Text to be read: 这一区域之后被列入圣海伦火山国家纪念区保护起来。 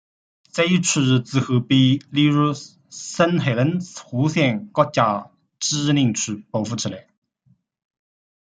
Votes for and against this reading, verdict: 1, 2, rejected